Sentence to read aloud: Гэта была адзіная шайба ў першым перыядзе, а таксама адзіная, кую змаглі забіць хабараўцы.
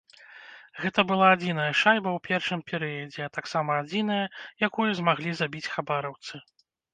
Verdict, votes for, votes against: rejected, 1, 2